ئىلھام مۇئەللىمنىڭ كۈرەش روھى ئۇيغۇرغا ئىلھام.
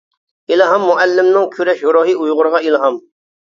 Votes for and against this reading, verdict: 0, 2, rejected